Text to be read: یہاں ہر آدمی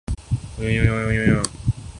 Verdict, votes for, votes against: rejected, 0, 3